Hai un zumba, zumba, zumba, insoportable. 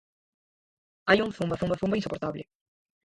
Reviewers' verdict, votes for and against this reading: rejected, 0, 4